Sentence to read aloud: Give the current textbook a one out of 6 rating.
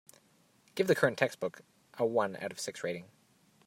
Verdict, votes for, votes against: rejected, 0, 2